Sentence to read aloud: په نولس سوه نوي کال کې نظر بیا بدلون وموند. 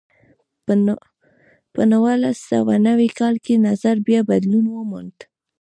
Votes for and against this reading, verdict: 2, 0, accepted